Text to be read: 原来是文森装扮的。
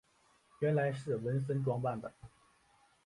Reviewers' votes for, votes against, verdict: 2, 0, accepted